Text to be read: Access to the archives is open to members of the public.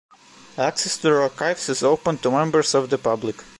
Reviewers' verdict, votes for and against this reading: accepted, 2, 1